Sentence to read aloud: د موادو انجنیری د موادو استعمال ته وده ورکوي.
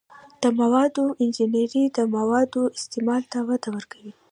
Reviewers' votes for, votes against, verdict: 2, 0, accepted